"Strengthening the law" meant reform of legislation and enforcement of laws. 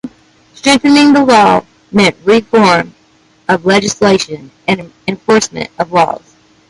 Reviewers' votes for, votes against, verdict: 0, 2, rejected